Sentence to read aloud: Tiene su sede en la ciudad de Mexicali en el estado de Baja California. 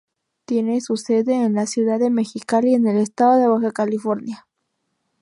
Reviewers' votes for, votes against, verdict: 2, 0, accepted